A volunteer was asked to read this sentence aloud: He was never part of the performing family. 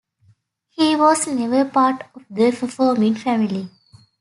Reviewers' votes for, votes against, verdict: 2, 1, accepted